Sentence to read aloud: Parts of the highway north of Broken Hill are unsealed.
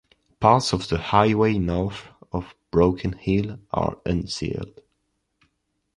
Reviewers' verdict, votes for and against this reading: accepted, 3, 0